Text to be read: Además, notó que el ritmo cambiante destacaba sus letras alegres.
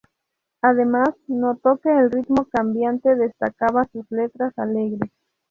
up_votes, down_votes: 2, 0